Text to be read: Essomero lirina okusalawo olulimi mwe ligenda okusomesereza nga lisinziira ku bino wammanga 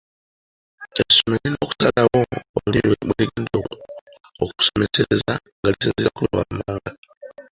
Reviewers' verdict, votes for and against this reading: rejected, 0, 2